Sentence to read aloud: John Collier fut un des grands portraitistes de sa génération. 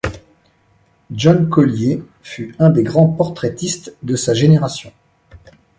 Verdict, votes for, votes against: accepted, 2, 0